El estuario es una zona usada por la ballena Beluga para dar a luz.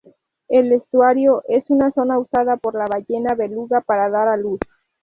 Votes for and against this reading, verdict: 2, 0, accepted